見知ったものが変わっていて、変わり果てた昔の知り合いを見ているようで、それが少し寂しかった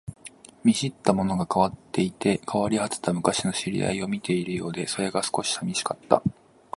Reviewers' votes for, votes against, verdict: 2, 0, accepted